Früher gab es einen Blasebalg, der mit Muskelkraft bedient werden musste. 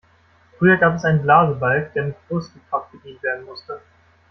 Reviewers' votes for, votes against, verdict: 2, 0, accepted